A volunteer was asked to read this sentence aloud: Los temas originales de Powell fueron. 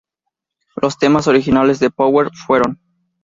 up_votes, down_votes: 4, 0